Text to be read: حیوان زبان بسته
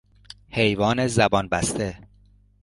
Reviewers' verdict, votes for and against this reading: accepted, 2, 0